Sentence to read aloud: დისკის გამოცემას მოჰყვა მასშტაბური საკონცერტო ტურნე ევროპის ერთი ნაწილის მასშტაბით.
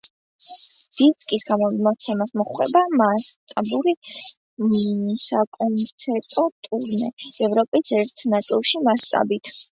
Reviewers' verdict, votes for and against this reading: rejected, 0, 2